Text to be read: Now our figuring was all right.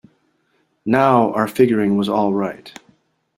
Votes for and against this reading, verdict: 2, 0, accepted